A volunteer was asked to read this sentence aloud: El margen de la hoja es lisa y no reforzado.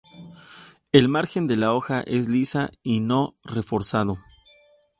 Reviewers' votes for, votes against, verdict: 2, 0, accepted